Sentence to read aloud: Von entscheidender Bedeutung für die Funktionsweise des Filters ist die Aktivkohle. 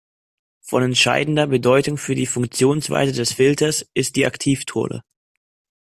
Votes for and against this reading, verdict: 0, 2, rejected